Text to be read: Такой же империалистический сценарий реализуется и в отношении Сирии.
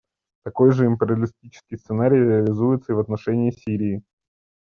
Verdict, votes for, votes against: accepted, 2, 0